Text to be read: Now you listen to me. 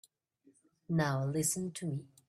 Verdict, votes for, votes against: rejected, 0, 2